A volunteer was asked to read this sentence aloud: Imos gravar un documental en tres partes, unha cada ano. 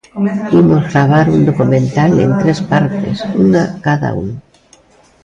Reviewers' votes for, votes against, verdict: 0, 2, rejected